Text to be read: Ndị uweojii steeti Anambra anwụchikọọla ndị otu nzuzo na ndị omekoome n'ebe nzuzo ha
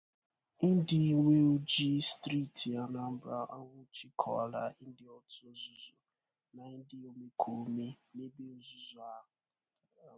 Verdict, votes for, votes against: rejected, 0, 2